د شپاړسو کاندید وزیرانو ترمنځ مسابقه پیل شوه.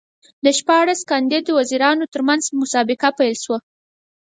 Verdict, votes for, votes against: rejected, 2, 4